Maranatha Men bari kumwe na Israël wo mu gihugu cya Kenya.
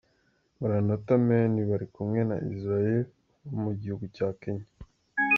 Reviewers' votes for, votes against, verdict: 2, 0, accepted